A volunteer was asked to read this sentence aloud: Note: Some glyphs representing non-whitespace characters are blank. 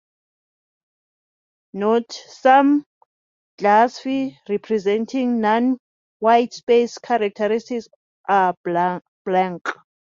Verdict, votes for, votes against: rejected, 0, 2